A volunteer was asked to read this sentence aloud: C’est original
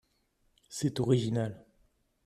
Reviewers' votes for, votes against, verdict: 3, 0, accepted